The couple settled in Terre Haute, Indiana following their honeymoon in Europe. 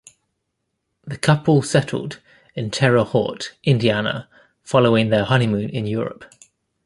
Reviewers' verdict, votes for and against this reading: accepted, 2, 1